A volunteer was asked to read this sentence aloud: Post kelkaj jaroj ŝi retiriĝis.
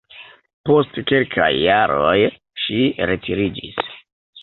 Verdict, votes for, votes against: accepted, 2, 1